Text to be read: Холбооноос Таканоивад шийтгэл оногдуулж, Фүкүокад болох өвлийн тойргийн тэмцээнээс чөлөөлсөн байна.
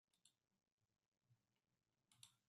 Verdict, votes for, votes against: rejected, 0, 2